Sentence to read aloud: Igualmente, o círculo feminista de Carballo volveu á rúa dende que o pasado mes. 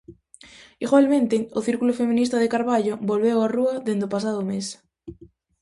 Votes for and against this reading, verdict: 0, 2, rejected